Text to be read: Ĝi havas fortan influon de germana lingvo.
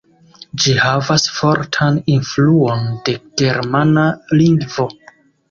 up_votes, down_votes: 2, 1